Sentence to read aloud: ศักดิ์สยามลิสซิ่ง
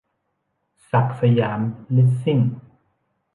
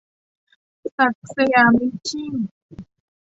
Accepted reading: first